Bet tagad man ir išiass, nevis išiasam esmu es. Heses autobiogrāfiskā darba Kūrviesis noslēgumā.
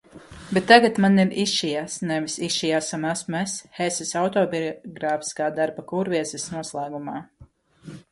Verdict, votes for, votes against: rejected, 0, 2